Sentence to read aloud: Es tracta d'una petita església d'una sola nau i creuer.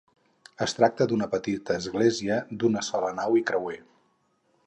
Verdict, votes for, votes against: accepted, 4, 0